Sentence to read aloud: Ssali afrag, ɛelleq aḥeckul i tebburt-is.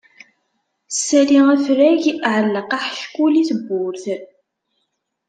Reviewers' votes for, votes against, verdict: 1, 2, rejected